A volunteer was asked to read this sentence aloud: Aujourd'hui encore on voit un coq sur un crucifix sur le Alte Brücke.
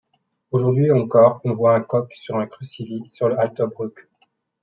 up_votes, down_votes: 1, 2